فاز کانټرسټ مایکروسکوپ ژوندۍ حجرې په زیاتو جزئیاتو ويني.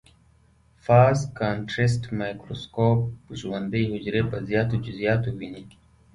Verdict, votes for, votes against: accepted, 2, 0